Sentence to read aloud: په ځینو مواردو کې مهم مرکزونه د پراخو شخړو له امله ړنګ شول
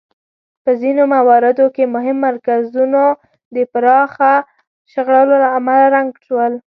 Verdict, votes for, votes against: rejected, 1, 2